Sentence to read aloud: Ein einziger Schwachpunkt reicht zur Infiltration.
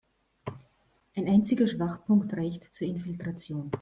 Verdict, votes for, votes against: accepted, 2, 0